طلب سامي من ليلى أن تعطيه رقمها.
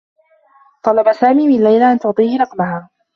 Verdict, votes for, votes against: accepted, 2, 0